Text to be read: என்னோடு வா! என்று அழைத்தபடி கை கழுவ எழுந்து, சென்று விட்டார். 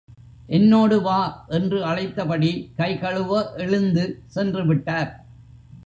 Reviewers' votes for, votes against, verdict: 2, 0, accepted